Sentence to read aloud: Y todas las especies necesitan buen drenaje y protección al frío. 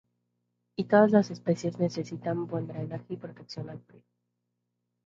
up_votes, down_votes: 2, 2